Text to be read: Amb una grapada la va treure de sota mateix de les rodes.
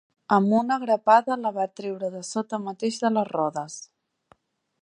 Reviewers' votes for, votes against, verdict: 3, 0, accepted